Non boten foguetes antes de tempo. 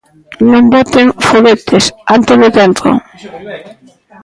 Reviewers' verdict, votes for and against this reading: rejected, 0, 2